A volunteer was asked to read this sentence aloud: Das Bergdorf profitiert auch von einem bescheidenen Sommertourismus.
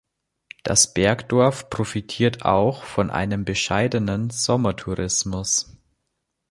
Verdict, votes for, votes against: accepted, 2, 0